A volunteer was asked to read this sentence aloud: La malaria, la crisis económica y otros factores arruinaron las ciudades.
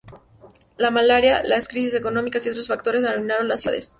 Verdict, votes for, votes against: rejected, 0, 2